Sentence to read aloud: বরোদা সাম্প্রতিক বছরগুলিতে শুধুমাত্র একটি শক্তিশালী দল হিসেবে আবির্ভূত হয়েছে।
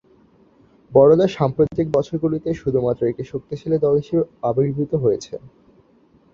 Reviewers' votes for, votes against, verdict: 2, 0, accepted